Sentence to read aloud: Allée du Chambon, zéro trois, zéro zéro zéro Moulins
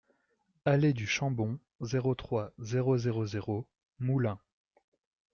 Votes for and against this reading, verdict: 2, 0, accepted